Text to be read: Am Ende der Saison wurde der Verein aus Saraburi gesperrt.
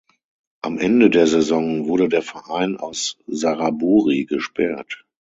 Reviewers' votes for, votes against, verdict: 6, 0, accepted